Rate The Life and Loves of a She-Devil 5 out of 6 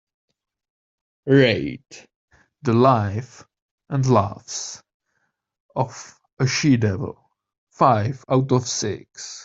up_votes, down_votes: 0, 2